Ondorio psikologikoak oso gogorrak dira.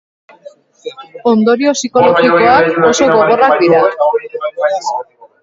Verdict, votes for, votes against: rejected, 0, 2